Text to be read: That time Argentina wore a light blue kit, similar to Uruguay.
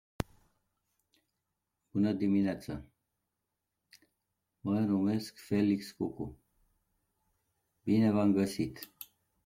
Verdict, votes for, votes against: rejected, 0, 2